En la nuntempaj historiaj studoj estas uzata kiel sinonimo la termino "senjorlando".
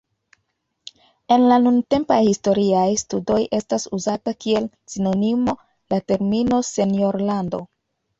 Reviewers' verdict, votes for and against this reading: accepted, 2, 0